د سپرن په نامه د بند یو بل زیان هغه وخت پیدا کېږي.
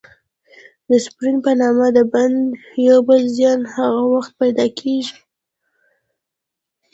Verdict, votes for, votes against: accepted, 2, 0